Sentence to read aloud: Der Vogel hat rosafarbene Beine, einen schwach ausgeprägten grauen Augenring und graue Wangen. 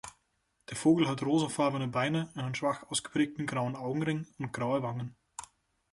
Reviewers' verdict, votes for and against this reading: accepted, 2, 0